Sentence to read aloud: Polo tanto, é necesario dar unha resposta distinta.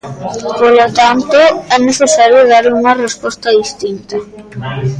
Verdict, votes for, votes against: rejected, 1, 2